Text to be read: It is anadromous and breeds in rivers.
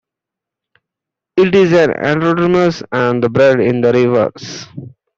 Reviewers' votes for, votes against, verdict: 0, 2, rejected